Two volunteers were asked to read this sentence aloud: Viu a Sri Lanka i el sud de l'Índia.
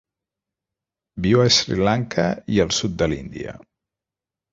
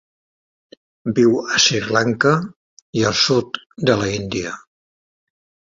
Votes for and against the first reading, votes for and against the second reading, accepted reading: 2, 0, 1, 2, first